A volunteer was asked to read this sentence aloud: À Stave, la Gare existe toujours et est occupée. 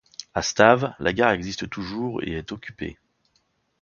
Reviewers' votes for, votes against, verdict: 2, 0, accepted